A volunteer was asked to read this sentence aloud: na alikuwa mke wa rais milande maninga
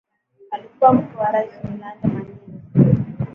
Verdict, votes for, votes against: rejected, 1, 2